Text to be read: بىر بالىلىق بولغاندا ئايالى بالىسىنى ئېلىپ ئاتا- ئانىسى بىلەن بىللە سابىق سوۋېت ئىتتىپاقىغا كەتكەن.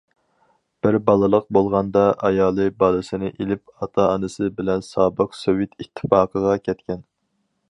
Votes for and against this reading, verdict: 0, 4, rejected